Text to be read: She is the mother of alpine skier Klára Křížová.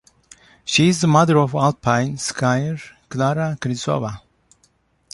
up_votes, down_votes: 2, 0